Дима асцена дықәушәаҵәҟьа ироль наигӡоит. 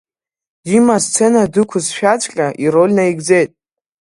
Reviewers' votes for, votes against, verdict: 1, 2, rejected